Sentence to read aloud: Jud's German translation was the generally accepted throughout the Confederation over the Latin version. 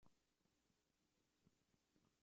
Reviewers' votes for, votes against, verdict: 0, 2, rejected